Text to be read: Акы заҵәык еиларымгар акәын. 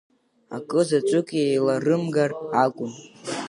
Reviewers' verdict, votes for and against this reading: accepted, 2, 1